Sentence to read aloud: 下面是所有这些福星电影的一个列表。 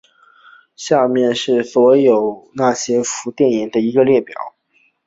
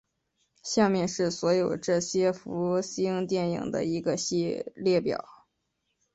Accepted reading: second